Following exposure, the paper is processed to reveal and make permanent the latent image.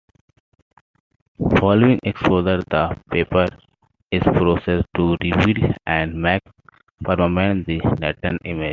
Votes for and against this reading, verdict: 0, 3, rejected